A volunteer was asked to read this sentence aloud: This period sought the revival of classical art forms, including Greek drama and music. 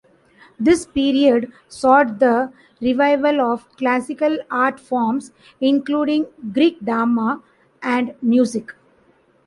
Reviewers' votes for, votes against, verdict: 2, 1, accepted